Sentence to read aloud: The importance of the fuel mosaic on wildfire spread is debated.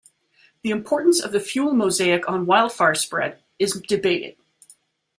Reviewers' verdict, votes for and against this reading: accepted, 2, 0